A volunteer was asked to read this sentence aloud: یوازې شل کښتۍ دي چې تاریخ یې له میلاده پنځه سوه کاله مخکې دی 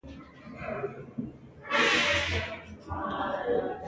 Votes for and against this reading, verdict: 0, 2, rejected